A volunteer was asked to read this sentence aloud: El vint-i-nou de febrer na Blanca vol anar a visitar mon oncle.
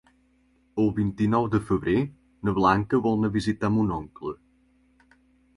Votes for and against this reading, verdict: 3, 1, accepted